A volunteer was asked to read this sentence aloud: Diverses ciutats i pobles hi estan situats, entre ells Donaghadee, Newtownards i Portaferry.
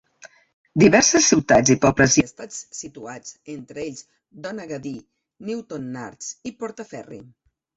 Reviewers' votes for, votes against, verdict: 2, 1, accepted